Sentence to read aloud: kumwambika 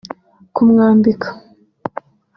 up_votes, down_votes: 3, 0